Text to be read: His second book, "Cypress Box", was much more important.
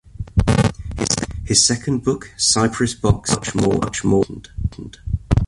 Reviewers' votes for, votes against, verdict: 0, 2, rejected